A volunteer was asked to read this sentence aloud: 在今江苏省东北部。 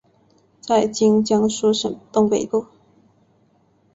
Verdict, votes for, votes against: accepted, 4, 0